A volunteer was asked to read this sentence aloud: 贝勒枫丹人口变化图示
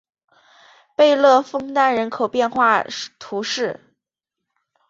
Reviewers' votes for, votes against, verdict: 3, 0, accepted